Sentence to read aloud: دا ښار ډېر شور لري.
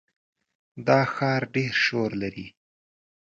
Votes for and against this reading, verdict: 2, 0, accepted